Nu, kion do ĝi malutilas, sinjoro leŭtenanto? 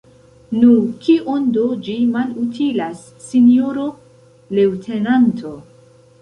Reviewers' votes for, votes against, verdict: 2, 0, accepted